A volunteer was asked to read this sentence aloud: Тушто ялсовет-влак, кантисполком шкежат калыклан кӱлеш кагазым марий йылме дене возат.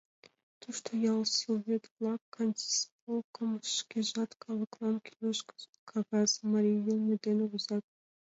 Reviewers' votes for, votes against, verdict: 0, 2, rejected